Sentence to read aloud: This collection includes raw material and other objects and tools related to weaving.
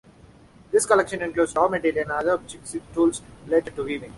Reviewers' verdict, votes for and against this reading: accepted, 2, 0